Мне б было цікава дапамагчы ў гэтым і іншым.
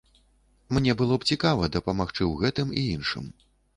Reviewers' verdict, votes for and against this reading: rejected, 1, 2